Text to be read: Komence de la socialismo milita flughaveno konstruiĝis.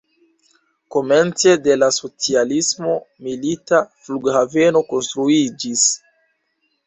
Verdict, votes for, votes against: accepted, 2, 0